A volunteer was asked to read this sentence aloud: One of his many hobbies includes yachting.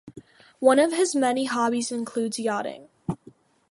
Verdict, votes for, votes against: accepted, 2, 1